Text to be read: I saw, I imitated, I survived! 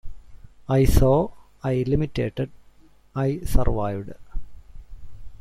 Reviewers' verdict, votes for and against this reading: rejected, 2, 3